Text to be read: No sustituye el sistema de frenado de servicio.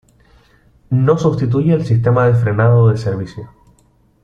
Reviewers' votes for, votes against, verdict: 2, 0, accepted